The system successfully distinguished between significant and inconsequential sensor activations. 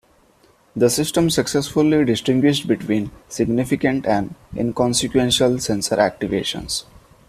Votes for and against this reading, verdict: 2, 0, accepted